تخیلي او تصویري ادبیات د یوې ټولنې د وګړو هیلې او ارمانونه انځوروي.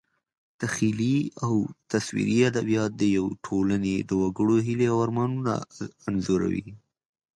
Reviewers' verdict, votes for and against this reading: accepted, 4, 0